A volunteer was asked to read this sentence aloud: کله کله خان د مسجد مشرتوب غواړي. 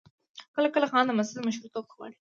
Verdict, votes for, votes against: accepted, 2, 0